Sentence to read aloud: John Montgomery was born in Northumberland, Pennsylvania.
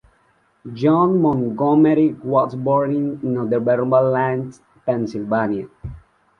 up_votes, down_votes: 2, 1